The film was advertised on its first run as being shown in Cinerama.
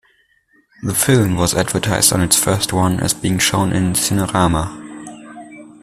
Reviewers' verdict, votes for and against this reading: accepted, 2, 0